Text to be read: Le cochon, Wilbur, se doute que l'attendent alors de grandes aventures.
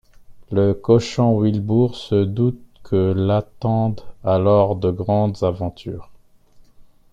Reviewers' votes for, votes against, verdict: 2, 0, accepted